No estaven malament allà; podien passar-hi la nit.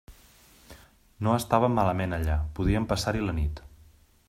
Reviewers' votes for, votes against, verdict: 2, 0, accepted